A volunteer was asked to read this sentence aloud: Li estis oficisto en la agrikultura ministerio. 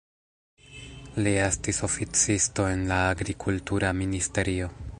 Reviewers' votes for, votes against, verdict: 0, 2, rejected